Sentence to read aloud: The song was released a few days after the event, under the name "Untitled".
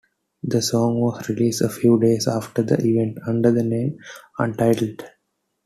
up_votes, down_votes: 2, 0